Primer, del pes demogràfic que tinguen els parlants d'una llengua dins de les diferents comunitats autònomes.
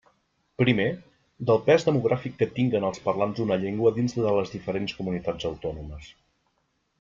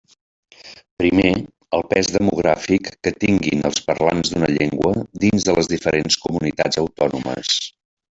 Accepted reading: first